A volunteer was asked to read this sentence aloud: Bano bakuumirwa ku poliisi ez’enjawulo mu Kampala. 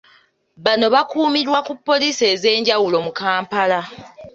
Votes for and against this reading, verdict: 2, 0, accepted